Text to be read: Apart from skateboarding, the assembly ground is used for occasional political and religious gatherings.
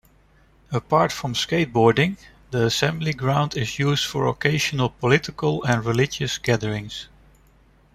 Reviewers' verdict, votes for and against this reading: accepted, 2, 0